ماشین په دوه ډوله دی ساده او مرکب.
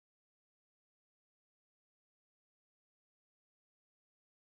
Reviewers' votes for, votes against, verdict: 2, 4, rejected